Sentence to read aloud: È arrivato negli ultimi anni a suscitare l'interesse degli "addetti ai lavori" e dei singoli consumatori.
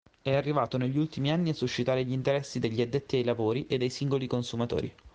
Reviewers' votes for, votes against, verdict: 2, 1, accepted